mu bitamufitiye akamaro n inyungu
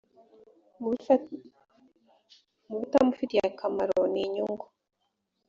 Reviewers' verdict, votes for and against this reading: rejected, 0, 2